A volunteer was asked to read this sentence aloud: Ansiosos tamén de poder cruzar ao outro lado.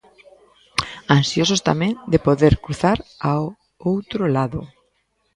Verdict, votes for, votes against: rejected, 1, 2